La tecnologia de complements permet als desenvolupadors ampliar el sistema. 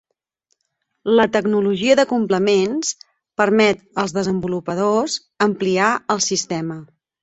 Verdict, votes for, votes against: accepted, 6, 0